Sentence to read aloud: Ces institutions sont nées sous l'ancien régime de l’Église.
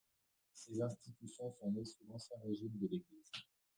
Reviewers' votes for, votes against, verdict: 1, 2, rejected